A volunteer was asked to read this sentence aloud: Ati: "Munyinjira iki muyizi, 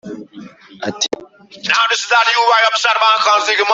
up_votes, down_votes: 0, 2